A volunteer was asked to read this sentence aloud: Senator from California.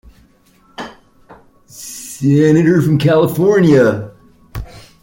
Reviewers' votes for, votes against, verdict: 1, 2, rejected